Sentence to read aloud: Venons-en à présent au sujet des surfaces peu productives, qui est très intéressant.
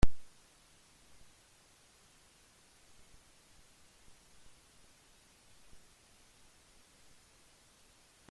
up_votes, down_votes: 0, 2